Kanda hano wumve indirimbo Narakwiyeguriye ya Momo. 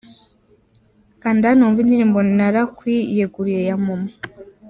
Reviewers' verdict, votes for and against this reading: accepted, 2, 1